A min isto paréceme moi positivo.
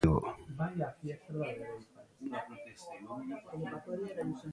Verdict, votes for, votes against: rejected, 0, 2